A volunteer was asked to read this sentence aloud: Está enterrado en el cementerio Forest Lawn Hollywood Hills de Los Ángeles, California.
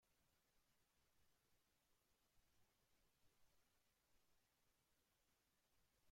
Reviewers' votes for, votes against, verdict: 0, 2, rejected